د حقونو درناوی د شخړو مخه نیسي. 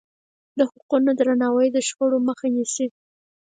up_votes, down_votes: 4, 0